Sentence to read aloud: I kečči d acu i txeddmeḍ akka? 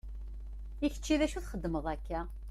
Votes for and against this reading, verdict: 2, 0, accepted